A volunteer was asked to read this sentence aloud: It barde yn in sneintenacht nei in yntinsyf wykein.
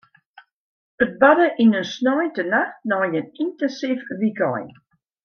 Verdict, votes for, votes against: accepted, 2, 0